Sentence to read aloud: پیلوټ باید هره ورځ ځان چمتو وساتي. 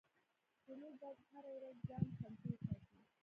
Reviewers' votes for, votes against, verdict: 0, 2, rejected